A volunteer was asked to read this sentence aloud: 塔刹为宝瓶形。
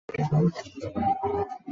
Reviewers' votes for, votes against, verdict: 0, 2, rejected